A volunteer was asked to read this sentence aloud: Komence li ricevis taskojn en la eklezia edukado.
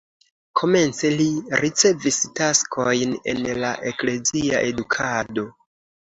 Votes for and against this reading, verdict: 2, 0, accepted